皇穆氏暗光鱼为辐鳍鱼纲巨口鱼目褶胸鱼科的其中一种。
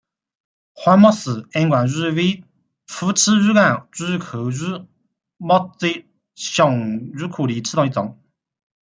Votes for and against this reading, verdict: 2, 1, accepted